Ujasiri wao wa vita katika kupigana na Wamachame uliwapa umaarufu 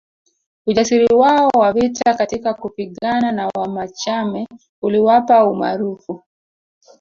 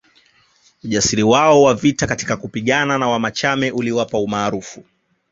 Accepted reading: second